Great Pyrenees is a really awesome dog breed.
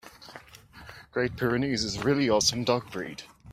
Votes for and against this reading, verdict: 3, 0, accepted